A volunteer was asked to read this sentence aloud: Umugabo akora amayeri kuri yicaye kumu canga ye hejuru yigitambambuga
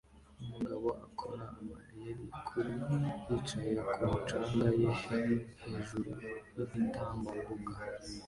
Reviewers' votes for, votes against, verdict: 2, 1, accepted